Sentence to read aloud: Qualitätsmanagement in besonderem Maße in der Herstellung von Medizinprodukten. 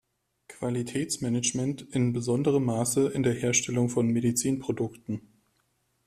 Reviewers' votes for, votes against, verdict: 2, 0, accepted